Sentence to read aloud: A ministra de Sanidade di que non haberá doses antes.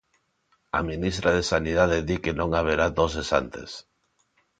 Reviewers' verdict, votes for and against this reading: accepted, 2, 0